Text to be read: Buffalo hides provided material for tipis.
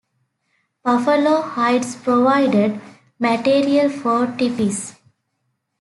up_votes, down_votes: 2, 0